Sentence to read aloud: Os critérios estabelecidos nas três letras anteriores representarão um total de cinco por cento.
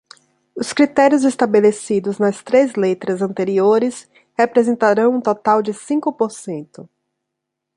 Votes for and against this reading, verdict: 2, 0, accepted